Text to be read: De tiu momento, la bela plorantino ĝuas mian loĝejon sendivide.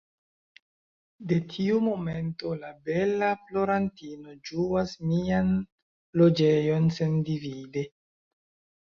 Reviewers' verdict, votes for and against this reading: accepted, 2, 0